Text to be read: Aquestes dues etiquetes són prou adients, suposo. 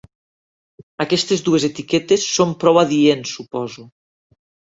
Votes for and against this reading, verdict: 3, 0, accepted